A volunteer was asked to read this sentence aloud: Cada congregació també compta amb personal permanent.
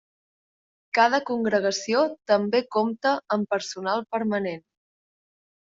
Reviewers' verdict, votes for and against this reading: accepted, 4, 0